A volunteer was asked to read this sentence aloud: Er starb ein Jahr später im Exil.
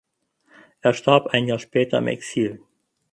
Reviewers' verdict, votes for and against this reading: accepted, 6, 2